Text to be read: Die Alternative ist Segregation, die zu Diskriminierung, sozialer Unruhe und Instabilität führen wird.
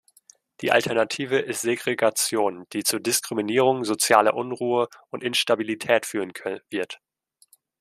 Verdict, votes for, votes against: rejected, 0, 2